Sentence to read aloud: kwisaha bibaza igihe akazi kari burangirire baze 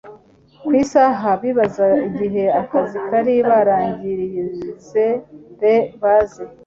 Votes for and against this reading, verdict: 0, 2, rejected